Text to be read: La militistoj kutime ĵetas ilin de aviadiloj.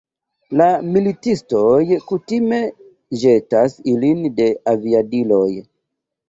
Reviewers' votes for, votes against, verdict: 0, 2, rejected